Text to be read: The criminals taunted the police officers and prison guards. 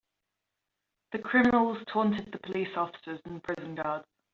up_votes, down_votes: 0, 2